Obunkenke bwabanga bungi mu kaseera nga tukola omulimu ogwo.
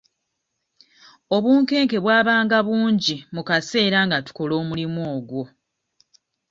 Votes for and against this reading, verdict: 2, 0, accepted